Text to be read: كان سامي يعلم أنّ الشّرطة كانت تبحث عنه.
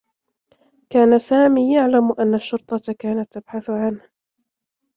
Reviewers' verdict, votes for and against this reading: accepted, 2, 0